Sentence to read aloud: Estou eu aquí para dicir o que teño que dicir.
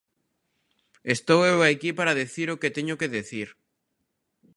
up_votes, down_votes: 0, 3